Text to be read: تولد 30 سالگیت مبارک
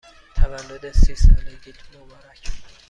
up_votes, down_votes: 0, 2